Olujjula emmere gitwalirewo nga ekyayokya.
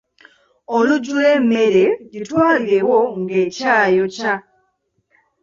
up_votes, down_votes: 0, 2